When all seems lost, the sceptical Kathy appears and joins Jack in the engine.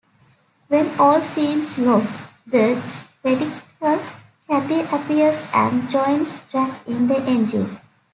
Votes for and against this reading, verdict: 1, 2, rejected